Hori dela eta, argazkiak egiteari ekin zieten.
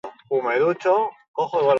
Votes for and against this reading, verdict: 0, 4, rejected